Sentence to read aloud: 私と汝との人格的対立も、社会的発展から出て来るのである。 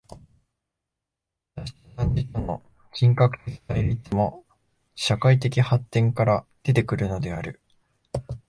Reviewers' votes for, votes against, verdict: 1, 2, rejected